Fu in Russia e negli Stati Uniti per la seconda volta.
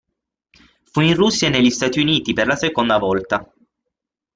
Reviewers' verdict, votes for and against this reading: rejected, 0, 6